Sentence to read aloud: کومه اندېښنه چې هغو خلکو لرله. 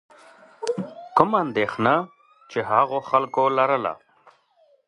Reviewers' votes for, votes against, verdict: 1, 2, rejected